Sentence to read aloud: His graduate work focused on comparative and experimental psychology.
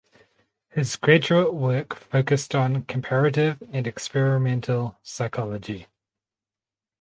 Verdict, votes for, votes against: rejected, 2, 4